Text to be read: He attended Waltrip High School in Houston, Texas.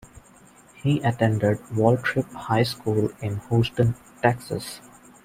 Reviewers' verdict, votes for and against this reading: accepted, 2, 0